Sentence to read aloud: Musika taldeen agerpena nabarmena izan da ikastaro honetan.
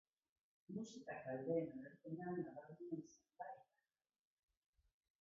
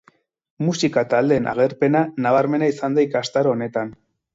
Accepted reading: second